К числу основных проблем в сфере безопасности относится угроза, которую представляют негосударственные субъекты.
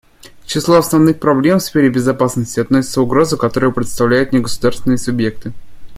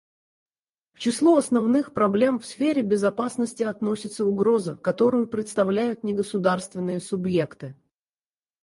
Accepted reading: first